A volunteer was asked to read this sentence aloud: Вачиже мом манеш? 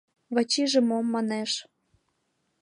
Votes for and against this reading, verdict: 3, 0, accepted